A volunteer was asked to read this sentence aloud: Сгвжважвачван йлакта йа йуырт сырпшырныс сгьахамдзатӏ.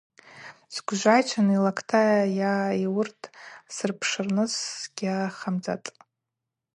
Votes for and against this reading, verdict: 0, 2, rejected